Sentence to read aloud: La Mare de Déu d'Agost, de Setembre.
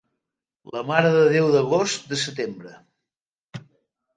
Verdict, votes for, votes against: accepted, 3, 0